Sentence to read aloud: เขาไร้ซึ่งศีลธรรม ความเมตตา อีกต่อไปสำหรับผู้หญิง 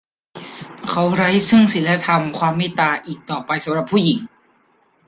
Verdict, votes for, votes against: accepted, 2, 0